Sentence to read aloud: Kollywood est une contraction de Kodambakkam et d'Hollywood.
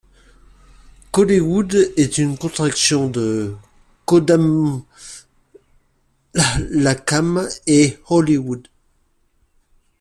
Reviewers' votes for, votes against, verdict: 0, 2, rejected